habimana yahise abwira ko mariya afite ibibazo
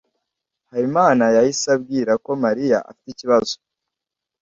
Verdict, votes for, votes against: rejected, 1, 2